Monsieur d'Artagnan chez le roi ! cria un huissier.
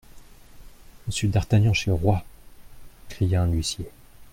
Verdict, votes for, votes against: accepted, 2, 0